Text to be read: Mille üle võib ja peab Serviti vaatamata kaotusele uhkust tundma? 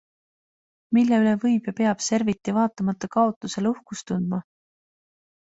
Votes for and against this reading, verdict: 2, 0, accepted